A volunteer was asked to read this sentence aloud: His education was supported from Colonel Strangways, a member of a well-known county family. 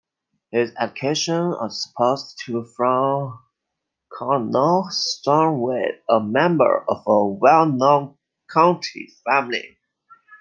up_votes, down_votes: 0, 2